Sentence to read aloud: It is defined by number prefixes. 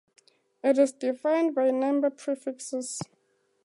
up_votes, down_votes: 4, 0